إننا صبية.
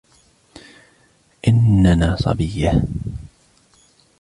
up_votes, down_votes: 1, 2